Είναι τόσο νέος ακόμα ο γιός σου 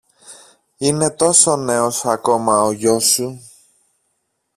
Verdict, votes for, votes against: accepted, 2, 0